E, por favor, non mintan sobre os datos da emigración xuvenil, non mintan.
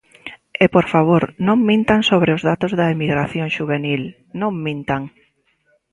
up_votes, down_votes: 2, 0